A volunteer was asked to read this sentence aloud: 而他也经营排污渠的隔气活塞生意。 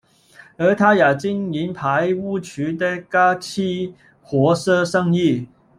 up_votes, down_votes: 0, 2